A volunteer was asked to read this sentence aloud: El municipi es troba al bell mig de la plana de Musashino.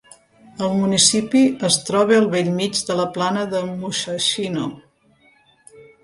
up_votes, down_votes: 3, 1